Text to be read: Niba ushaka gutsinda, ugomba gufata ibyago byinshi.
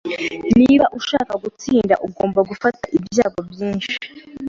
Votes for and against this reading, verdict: 2, 0, accepted